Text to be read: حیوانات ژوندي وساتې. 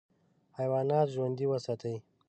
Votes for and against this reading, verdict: 2, 0, accepted